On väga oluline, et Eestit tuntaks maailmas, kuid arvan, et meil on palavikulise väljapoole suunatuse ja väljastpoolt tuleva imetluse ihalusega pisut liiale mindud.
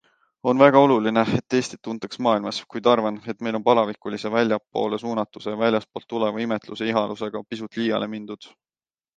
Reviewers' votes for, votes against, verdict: 2, 0, accepted